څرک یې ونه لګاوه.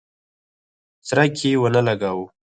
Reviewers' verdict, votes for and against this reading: rejected, 2, 4